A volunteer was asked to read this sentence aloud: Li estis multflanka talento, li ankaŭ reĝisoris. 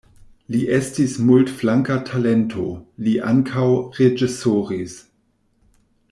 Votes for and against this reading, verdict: 2, 0, accepted